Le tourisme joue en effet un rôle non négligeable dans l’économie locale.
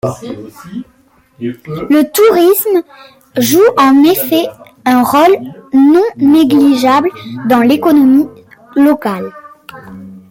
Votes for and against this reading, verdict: 1, 2, rejected